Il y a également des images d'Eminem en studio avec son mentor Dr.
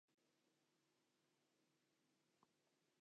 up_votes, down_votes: 0, 2